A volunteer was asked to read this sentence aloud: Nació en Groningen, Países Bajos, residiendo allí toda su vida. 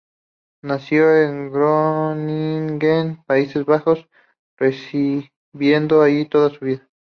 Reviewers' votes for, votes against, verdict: 2, 0, accepted